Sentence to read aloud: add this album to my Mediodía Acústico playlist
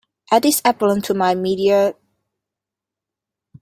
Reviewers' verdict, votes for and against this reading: rejected, 0, 2